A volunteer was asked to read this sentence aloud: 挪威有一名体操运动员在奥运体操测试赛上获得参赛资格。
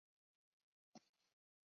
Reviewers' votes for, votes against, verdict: 0, 3, rejected